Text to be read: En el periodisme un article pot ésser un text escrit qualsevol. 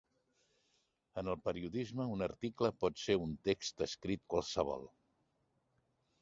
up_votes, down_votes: 1, 2